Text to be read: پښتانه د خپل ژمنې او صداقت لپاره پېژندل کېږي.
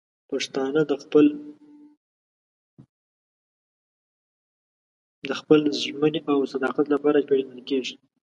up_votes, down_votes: 0, 2